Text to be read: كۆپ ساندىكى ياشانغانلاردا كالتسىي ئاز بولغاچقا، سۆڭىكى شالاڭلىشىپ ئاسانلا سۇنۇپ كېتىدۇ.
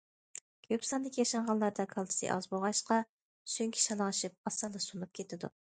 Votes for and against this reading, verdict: 2, 1, accepted